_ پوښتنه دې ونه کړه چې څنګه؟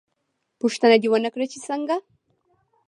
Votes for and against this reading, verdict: 0, 2, rejected